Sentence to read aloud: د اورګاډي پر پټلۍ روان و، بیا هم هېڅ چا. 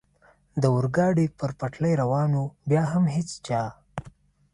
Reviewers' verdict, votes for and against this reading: accepted, 2, 0